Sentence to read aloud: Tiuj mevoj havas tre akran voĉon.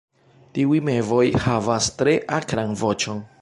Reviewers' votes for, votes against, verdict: 2, 0, accepted